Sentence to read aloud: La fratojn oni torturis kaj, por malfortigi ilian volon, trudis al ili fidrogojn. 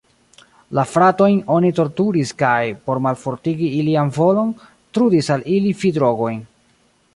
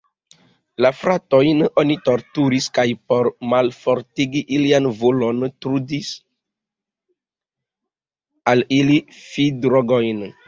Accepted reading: second